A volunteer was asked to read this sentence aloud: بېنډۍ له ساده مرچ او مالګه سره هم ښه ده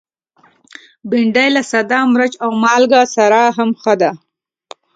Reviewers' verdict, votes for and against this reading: accepted, 2, 0